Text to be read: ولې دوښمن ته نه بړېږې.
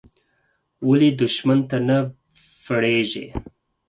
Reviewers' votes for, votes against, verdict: 4, 2, accepted